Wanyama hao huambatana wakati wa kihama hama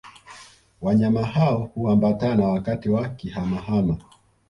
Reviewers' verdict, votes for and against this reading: accepted, 2, 0